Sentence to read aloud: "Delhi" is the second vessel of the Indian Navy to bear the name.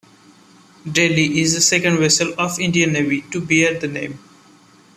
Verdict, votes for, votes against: rejected, 1, 2